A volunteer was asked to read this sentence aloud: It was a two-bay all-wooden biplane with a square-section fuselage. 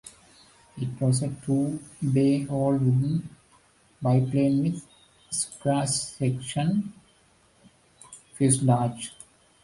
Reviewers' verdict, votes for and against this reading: rejected, 1, 2